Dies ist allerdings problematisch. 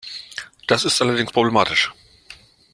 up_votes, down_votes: 1, 2